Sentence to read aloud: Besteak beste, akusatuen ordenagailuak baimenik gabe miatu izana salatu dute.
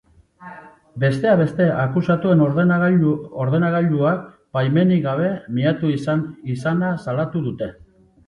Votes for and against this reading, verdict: 1, 2, rejected